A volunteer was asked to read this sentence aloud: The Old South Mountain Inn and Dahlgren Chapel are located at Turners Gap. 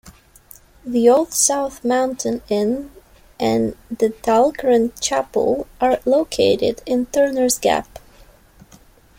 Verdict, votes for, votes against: rejected, 1, 2